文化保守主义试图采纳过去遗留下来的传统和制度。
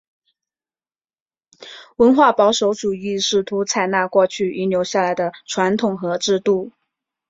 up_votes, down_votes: 2, 0